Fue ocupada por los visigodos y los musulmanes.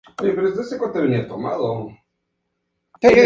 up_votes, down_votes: 0, 6